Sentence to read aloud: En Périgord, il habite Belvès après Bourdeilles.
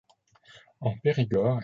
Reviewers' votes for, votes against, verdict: 0, 2, rejected